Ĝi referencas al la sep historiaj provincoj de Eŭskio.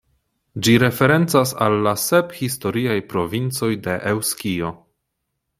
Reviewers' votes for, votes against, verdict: 2, 0, accepted